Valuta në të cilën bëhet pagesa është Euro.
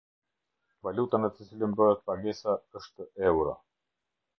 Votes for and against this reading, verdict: 2, 0, accepted